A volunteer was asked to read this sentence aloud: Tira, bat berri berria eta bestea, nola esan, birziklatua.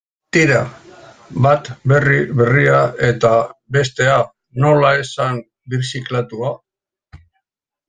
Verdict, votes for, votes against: accepted, 2, 1